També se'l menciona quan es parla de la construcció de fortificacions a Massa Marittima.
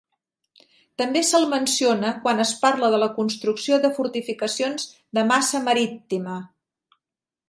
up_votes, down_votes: 0, 2